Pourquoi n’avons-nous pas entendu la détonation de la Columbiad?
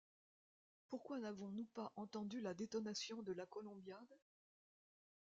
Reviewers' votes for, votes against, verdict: 1, 2, rejected